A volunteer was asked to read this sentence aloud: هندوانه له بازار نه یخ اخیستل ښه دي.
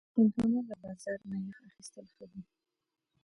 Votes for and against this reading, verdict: 1, 2, rejected